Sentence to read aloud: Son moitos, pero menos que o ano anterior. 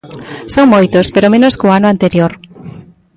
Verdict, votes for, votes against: accepted, 2, 0